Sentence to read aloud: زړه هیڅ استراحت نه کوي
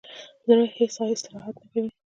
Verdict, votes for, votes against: accepted, 2, 0